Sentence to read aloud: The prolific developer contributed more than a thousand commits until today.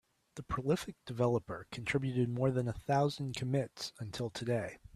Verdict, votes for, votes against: accepted, 3, 0